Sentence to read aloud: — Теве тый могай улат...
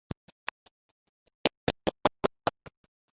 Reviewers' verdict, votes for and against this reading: rejected, 0, 2